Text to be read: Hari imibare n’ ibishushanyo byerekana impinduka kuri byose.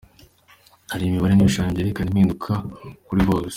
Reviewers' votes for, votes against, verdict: 2, 0, accepted